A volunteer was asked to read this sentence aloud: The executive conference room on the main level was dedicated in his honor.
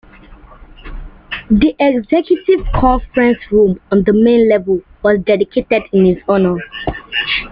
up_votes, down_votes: 1, 2